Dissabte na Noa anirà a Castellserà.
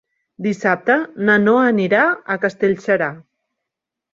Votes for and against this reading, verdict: 6, 1, accepted